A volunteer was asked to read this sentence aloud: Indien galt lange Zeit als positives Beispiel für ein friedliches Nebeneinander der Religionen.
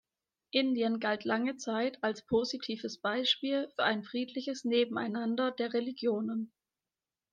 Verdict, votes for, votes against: accepted, 2, 0